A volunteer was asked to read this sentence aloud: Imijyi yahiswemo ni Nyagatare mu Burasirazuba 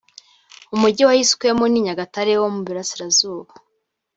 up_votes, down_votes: 0, 2